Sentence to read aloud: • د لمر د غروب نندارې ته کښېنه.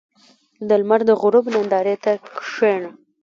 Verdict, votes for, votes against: accepted, 2, 0